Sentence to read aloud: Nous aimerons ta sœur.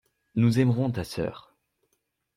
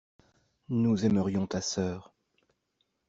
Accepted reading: first